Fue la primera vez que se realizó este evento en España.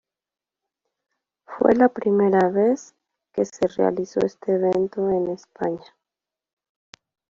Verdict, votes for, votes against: accepted, 2, 1